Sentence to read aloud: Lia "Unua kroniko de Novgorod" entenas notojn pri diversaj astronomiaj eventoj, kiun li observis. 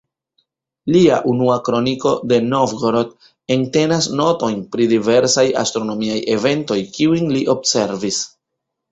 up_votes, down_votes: 1, 2